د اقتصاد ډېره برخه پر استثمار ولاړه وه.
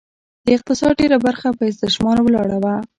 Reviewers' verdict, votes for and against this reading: rejected, 1, 2